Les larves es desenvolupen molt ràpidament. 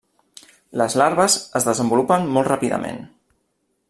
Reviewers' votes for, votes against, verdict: 3, 0, accepted